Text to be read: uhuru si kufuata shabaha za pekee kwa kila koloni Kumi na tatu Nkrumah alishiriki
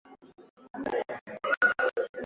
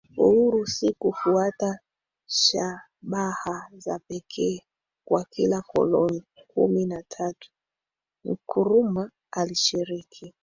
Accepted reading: second